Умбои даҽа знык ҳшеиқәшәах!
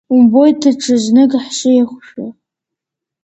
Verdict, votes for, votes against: rejected, 0, 2